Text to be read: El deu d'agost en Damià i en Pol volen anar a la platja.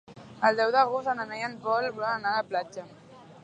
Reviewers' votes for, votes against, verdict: 1, 2, rejected